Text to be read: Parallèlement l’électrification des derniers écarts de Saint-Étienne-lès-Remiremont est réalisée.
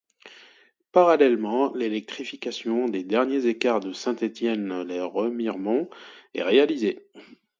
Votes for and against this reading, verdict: 2, 0, accepted